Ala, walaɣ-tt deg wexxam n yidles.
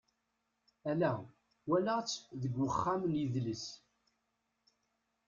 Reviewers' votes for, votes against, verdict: 2, 0, accepted